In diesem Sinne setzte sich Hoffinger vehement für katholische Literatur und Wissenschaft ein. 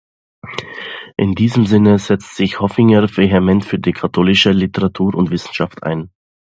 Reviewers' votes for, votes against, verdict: 0, 2, rejected